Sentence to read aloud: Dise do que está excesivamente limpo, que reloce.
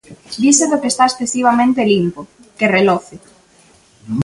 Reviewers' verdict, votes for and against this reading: accepted, 2, 0